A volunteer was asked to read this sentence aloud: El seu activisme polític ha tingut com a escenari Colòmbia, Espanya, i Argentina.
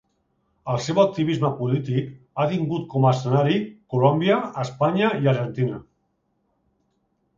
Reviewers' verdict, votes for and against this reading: rejected, 1, 2